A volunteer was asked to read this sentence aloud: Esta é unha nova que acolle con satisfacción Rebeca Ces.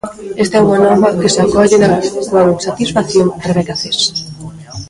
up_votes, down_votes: 0, 2